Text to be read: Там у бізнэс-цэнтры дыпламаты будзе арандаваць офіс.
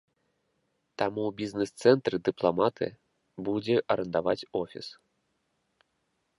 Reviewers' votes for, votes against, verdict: 2, 0, accepted